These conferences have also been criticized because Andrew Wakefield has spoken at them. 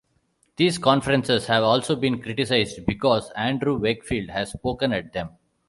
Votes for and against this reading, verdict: 2, 0, accepted